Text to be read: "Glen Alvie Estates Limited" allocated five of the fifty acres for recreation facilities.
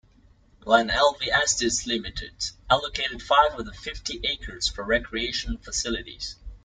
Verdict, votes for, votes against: rejected, 1, 2